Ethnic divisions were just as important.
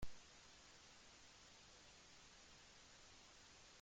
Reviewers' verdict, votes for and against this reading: rejected, 0, 2